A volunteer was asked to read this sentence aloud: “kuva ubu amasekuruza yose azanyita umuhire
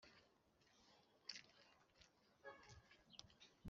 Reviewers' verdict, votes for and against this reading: rejected, 1, 3